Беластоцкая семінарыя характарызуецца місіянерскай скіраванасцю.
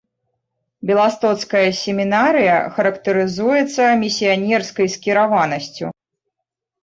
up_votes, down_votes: 2, 1